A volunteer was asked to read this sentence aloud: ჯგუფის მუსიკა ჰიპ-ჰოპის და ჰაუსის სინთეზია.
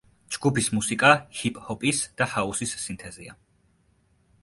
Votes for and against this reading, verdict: 2, 0, accepted